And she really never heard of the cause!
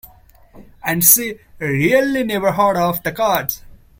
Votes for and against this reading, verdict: 1, 2, rejected